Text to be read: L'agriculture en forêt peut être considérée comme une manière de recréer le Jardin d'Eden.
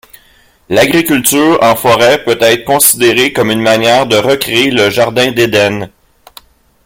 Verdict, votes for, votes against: accepted, 3, 2